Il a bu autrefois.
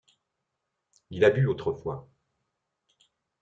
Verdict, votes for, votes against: accepted, 3, 0